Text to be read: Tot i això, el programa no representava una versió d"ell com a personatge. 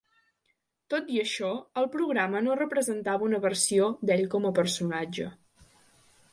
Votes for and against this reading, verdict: 2, 0, accepted